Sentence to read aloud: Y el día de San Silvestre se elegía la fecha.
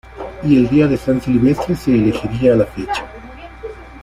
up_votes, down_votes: 1, 2